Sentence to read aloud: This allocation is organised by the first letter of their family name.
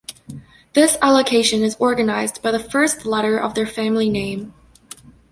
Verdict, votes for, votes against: accepted, 2, 0